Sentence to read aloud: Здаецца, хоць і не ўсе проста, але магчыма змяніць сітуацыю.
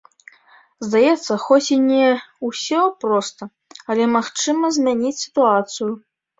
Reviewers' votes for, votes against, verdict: 0, 2, rejected